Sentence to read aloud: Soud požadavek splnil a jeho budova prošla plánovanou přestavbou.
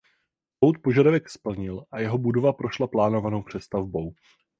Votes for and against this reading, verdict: 0, 4, rejected